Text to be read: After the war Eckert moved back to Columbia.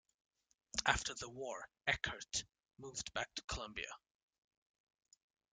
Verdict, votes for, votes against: accepted, 2, 0